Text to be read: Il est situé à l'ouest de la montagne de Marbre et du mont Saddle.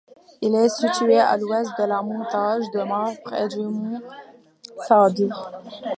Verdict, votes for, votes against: rejected, 1, 2